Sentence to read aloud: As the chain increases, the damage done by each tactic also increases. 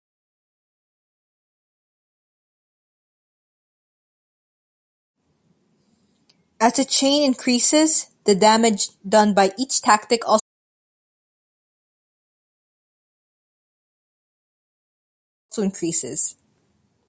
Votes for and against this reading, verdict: 0, 2, rejected